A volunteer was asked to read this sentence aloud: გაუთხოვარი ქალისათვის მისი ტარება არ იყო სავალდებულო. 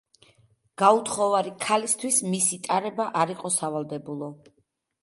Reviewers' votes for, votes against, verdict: 0, 2, rejected